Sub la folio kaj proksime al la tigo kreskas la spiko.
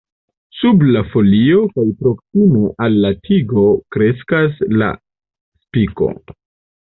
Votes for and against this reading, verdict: 0, 2, rejected